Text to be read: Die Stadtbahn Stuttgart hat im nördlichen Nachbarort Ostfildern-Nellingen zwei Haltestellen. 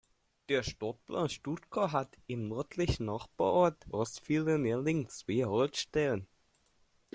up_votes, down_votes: 1, 2